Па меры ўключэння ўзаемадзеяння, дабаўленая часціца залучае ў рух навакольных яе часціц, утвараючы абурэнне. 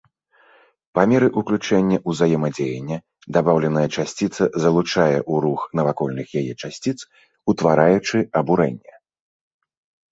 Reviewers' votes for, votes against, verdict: 3, 0, accepted